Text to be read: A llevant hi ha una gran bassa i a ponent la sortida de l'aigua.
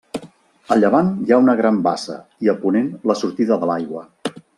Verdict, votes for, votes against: accepted, 2, 0